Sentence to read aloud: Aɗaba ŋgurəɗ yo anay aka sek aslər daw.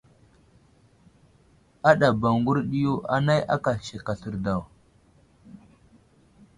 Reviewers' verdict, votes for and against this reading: accepted, 2, 0